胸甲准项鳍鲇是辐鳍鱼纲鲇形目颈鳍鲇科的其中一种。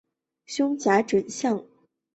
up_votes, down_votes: 0, 2